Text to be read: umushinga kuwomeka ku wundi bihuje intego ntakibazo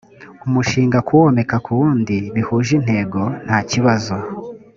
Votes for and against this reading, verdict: 2, 0, accepted